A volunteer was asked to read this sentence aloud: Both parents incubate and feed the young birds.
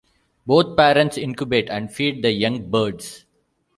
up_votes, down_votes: 2, 0